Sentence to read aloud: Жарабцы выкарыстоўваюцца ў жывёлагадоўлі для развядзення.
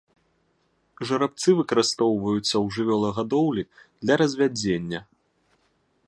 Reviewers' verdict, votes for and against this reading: accepted, 2, 0